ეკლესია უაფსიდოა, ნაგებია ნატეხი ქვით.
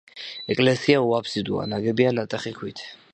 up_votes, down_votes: 2, 0